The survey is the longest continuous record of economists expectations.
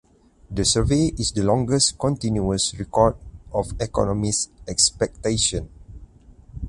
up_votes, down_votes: 2, 4